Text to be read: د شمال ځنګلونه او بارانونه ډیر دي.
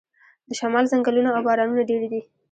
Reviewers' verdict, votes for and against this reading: rejected, 1, 2